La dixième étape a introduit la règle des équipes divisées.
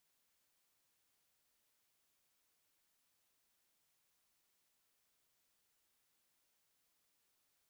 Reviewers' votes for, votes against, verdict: 0, 2, rejected